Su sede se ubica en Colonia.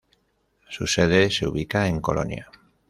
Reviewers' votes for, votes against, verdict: 2, 1, accepted